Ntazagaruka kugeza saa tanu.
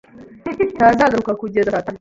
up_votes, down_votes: 0, 2